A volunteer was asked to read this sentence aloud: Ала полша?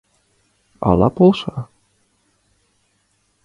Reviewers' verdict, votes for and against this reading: accepted, 2, 0